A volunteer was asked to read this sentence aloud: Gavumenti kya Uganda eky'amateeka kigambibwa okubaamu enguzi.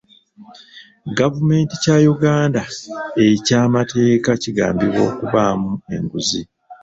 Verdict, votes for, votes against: rejected, 0, 2